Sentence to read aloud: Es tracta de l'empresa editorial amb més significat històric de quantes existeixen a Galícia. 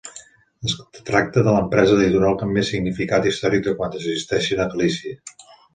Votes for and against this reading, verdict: 2, 0, accepted